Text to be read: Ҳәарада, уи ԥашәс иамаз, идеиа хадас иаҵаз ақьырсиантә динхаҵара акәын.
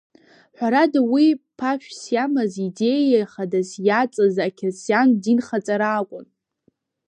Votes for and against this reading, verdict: 0, 2, rejected